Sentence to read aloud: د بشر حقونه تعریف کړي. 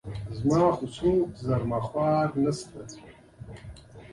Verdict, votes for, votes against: rejected, 1, 2